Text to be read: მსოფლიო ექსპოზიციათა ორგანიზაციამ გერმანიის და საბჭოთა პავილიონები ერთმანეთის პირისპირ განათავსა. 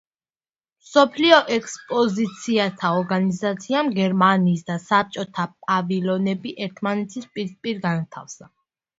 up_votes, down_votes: 0, 2